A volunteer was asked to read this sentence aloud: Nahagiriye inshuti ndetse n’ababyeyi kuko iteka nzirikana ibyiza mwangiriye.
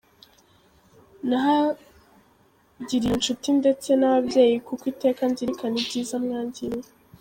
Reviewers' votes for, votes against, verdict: 1, 2, rejected